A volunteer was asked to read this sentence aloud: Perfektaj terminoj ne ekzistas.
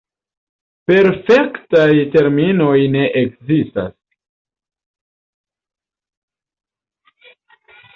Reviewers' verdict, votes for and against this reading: rejected, 0, 2